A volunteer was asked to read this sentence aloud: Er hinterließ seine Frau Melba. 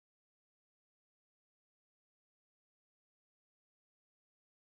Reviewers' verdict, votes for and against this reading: rejected, 0, 2